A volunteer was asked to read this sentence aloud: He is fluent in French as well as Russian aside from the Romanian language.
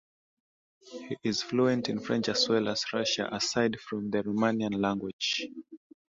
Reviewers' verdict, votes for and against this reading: accepted, 2, 0